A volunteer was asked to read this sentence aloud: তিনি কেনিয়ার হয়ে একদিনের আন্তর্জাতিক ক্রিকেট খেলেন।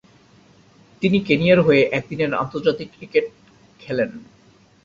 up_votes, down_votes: 2, 0